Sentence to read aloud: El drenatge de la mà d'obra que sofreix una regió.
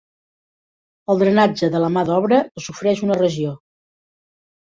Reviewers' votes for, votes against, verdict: 0, 2, rejected